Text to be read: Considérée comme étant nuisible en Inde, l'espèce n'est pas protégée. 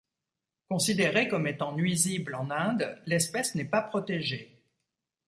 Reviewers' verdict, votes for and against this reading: accepted, 2, 0